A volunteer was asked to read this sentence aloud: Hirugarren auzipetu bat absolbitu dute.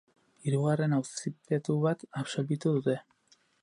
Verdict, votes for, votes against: rejected, 2, 4